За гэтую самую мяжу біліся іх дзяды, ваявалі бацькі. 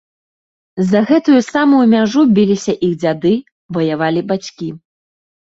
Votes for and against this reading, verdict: 2, 0, accepted